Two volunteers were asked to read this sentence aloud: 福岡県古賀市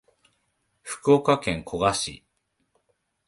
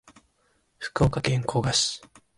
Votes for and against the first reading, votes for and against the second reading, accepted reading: 1, 2, 4, 0, second